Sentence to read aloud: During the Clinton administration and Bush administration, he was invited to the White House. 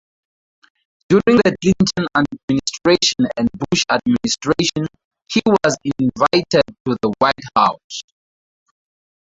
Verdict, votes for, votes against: accepted, 2, 0